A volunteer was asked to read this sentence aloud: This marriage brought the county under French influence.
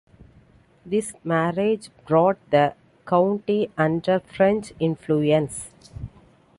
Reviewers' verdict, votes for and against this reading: accepted, 2, 0